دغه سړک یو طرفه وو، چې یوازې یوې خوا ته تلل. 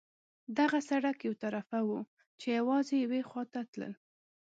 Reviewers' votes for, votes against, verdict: 2, 0, accepted